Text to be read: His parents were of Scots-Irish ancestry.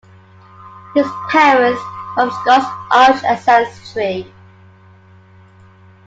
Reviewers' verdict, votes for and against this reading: rejected, 1, 2